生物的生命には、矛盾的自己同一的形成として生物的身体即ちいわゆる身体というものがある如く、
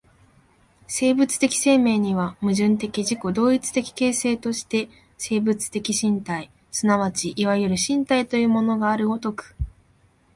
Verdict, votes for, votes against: accepted, 8, 0